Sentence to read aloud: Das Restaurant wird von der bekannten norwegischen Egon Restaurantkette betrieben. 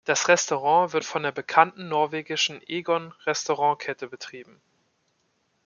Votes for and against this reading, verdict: 2, 0, accepted